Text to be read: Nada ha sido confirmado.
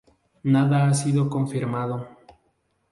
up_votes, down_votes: 2, 0